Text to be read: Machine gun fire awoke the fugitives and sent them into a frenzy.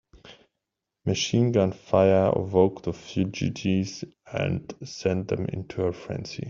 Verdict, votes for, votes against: accepted, 2, 0